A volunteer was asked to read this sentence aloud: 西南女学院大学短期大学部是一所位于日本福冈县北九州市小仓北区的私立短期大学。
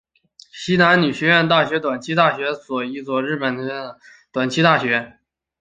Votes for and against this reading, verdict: 0, 4, rejected